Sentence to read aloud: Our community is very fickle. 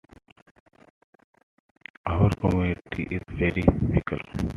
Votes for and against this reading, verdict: 0, 2, rejected